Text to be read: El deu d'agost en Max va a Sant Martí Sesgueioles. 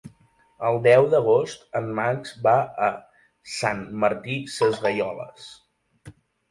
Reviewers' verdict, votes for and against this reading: accepted, 2, 0